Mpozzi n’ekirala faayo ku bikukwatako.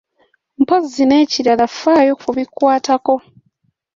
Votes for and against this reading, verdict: 2, 1, accepted